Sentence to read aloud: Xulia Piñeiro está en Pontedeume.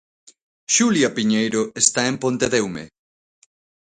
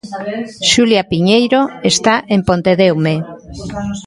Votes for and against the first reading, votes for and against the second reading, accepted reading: 2, 0, 1, 2, first